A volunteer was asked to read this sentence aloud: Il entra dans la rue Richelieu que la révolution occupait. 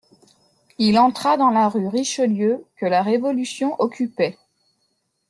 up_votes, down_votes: 2, 0